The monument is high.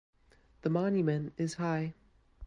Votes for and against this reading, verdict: 2, 1, accepted